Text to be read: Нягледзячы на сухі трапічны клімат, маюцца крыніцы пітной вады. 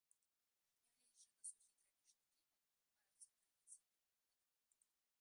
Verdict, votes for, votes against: rejected, 0, 3